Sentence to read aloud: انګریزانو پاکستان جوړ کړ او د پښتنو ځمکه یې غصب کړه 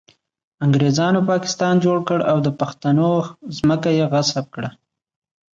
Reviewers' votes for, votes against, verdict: 2, 0, accepted